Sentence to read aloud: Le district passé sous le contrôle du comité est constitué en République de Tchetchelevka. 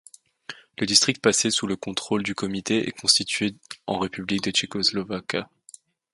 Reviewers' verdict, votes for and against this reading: rejected, 0, 2